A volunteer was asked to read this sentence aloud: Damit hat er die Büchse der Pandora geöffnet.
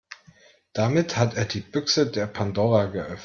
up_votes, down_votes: 0, 2